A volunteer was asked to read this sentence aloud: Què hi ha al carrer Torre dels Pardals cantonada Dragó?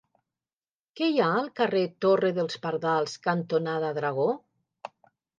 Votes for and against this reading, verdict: 3, 0, accepted